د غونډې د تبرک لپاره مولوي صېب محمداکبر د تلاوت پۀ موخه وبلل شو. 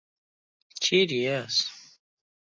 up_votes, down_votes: 0, 2